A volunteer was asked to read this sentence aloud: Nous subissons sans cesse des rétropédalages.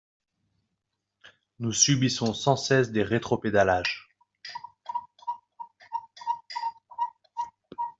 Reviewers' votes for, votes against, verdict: 1, 2, rejected